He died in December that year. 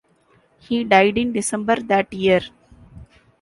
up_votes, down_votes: 2, 0